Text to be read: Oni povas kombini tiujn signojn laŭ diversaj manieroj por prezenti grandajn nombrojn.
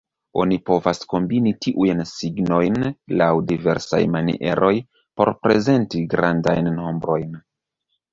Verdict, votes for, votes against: rejected, 1, 2